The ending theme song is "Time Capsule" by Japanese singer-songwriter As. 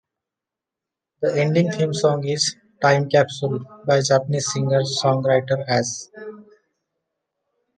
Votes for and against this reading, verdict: 2, 0, accepted